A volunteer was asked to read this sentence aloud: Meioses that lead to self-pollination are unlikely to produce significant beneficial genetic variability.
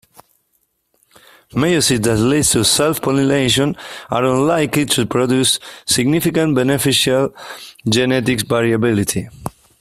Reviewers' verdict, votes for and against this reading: rejected, 0, 2